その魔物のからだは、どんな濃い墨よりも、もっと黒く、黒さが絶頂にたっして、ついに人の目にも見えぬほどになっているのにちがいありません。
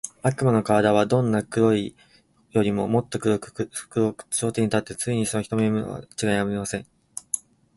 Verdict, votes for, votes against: rejected, 4, 42